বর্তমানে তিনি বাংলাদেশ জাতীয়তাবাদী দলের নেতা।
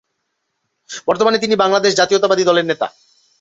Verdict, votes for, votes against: accepted, 2, 0